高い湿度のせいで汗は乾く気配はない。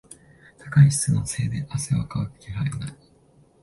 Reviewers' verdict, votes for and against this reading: rejected, 0, 2